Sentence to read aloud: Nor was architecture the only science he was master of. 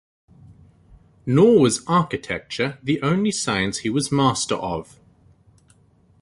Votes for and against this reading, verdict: 2, 0, accepted